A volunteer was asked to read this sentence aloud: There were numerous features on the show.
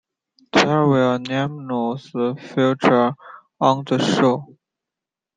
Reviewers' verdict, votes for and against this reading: rejected, 0, 2